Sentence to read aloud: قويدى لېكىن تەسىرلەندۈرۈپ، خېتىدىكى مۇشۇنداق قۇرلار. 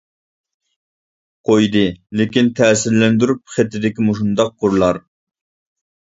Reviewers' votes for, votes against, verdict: 2, 0, accepted